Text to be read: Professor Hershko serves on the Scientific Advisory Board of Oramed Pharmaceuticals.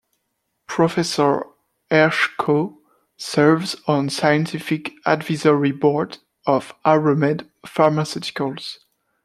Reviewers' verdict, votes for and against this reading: rejected, 1, 2